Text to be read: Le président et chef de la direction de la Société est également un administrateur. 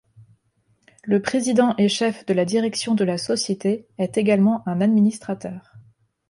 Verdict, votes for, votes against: accepted, 2, 0